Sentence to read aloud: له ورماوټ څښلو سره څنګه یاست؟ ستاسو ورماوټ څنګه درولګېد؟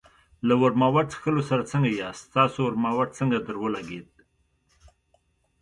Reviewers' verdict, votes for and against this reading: accepted, 2, 1